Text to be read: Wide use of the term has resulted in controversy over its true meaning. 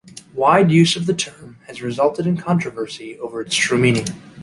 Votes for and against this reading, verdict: 2, 0, accepted